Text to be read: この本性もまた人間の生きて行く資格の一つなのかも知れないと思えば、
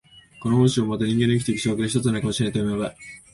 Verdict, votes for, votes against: rejected, 1, 2